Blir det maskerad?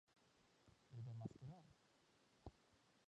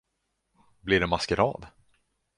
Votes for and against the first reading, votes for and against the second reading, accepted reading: 1, 2, 2, 0, second